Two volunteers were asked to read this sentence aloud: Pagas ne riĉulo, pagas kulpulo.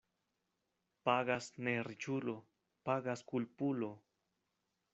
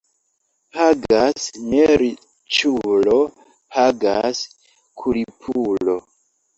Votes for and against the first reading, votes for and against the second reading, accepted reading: 2, 0, 0, 2, first